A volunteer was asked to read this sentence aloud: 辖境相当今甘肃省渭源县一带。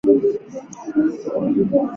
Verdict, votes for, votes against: rejected, 0, 2